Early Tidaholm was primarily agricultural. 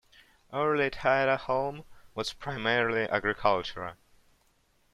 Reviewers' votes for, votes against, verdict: 2, 0, accepted